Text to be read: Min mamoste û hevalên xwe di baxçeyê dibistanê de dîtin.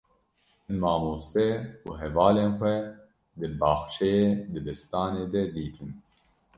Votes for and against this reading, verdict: 0, 2, rejected